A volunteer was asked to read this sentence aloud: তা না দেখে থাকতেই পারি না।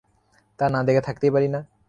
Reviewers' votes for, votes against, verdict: 3, 0, accepted